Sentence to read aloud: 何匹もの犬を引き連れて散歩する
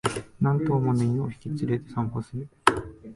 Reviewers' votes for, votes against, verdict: 0, 2, rejected